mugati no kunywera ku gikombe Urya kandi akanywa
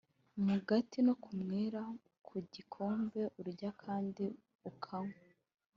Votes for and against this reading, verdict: 2, 0, accepted